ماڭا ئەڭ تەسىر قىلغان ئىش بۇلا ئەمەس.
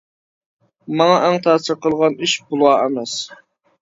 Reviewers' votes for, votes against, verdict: 1, 2, rejected